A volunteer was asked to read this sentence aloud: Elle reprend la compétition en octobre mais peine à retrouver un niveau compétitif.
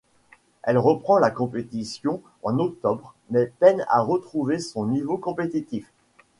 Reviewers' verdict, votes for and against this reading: rejected, 1, 2